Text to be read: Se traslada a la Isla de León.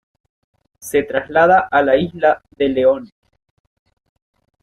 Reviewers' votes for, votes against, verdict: 2, 1, accepted